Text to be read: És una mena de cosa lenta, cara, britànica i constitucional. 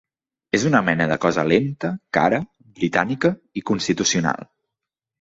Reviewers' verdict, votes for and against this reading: accepted, 3, 0